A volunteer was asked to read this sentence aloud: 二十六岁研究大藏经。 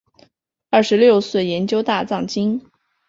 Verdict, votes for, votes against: accepted, 4, 1